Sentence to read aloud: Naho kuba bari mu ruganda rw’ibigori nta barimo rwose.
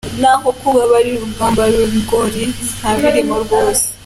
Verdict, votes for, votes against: rejected, 1, 2